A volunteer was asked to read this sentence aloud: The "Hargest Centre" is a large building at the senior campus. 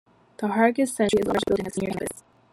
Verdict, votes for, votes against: rejected, 0, 2